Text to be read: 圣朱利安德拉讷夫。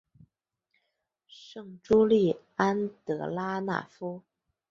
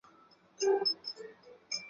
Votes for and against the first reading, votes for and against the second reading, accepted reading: 4, 2, 1, 5, first